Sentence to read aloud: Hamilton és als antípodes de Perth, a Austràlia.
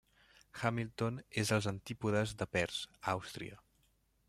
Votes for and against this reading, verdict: 0, 2, rejected